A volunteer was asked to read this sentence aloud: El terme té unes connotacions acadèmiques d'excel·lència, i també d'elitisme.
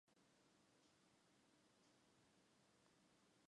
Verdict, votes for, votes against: rejected, 0, 2